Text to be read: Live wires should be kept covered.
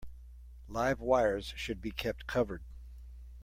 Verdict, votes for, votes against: accepted, 2, 0